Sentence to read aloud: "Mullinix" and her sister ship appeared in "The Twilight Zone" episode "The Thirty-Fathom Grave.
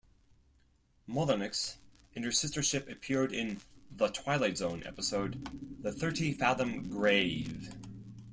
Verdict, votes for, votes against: accepted, 4, 0